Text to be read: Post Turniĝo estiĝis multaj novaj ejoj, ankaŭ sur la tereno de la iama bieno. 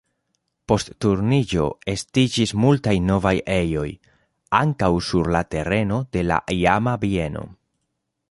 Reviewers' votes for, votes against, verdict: 2, 0, accepted